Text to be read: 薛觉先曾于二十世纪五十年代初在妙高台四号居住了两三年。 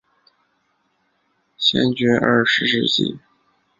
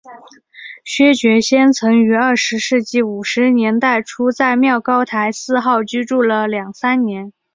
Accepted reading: second